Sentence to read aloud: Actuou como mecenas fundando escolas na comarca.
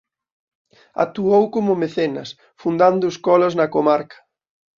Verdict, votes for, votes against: accepted, 2, 0